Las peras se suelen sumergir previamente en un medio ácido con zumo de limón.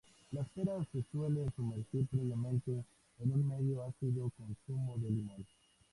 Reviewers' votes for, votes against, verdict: 2, 0, accepted